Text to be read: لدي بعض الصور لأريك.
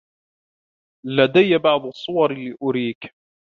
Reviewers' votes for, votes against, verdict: 2, 0, accepted